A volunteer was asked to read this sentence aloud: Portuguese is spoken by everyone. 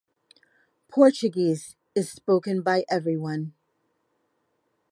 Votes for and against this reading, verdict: 2, 0, accepted